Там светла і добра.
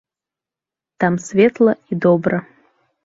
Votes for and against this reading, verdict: 2, 0, accepted